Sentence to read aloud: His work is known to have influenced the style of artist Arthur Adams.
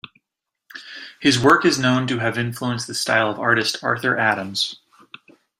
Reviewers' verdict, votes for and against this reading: accepted, 2, 0